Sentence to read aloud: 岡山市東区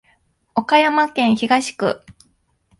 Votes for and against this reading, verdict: 0, 2, rejected